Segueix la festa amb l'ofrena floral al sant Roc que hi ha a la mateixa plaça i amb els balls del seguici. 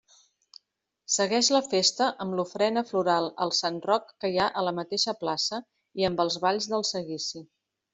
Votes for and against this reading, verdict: 2, 0, accepted